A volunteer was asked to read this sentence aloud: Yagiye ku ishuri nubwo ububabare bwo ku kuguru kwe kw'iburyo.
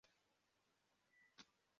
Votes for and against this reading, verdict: 0, 2, rejected